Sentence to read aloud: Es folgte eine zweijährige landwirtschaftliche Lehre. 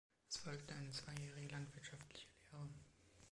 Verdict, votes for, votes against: accepted, 2, 1